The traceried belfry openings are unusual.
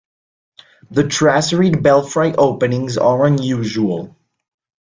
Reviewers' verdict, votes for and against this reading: rejected, 1, 2